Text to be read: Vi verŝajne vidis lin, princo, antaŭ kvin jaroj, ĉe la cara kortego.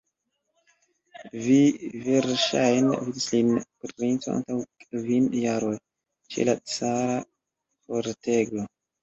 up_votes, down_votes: 1, 2